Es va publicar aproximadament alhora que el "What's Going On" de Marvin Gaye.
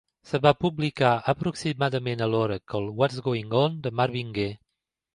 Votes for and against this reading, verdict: 2, 1, accepted